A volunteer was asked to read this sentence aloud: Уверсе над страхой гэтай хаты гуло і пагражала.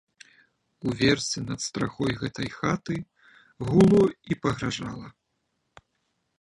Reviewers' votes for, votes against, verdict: 1, 2, rejected